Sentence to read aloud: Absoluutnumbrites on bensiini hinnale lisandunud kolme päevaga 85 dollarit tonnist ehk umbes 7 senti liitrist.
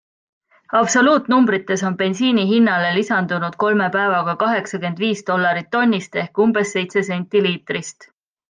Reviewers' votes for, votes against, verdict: 0, 2, rejected